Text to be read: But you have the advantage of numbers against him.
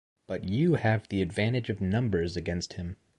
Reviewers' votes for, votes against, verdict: 2, 0, accepted